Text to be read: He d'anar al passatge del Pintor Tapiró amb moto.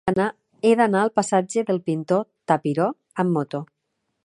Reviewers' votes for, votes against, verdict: 3, 4, rejected